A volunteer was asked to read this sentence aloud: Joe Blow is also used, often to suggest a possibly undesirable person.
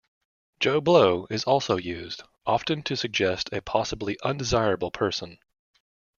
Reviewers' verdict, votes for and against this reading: accepted, 2, 0